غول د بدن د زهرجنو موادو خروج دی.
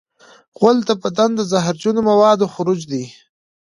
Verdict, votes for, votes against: accepted, 2, 0